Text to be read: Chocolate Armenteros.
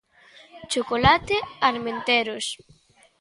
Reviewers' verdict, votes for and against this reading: accepted, 2, 1